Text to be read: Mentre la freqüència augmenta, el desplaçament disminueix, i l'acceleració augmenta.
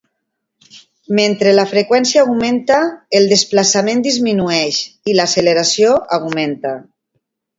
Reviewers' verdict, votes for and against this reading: accepted, 2, 0